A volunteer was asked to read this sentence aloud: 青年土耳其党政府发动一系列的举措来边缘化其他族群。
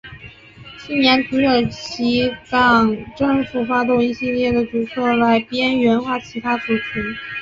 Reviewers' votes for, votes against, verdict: 2, 1, accepted